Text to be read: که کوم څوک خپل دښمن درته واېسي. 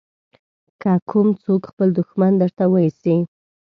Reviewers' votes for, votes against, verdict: 1, 2, rejected